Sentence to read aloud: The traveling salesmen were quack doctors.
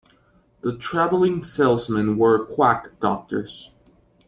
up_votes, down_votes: 2, 0